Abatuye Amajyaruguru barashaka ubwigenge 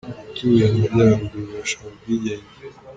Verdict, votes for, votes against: rejected, 1, 2